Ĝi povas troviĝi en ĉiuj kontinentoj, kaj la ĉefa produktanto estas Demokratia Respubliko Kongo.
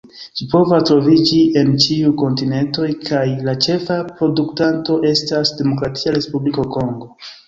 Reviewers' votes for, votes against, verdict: 2, 0, accepted